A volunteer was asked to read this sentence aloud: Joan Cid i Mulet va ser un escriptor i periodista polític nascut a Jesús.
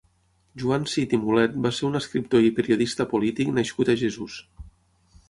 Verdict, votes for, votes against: accepted, 6, 0